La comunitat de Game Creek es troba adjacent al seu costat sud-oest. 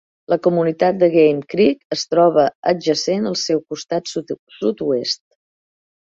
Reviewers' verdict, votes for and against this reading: rejected, 0, 2